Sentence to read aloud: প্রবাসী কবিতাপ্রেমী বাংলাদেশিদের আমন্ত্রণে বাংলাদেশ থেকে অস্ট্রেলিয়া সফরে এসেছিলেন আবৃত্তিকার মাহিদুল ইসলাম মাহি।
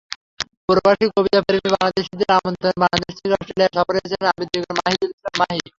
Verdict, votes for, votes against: rejected, 0, 3